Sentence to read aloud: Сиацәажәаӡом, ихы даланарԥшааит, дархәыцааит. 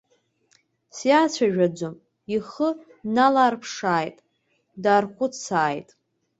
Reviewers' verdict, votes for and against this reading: rejected, 1, 2